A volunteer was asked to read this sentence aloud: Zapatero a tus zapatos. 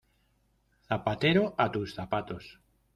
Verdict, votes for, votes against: accepted, 2, 0